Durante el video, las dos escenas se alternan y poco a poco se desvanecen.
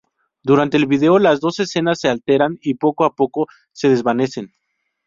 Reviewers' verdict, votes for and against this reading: rejected, 2, 2